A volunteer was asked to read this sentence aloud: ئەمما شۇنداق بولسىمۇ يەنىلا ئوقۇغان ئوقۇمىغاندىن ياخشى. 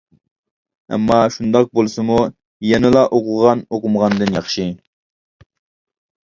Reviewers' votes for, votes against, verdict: 2, 0, accepted